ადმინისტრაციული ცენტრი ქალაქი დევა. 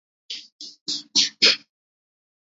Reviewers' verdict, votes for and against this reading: rejected, 0, 2